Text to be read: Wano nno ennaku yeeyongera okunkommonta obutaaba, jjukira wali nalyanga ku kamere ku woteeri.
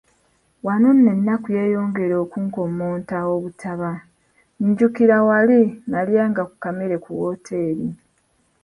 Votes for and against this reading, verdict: 1, 2, rejected